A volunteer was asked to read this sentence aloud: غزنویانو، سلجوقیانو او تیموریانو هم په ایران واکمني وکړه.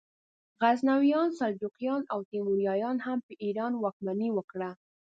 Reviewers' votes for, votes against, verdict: 2, 3, rejected